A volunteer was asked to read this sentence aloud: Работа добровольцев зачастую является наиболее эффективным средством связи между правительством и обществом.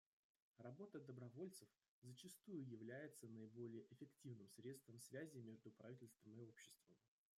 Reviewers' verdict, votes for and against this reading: rejected, 0, 2